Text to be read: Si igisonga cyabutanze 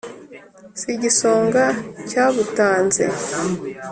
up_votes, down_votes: 4, 0